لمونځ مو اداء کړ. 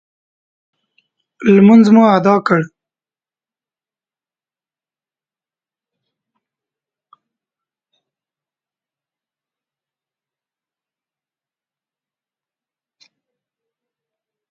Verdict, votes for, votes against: rejected, 1, 2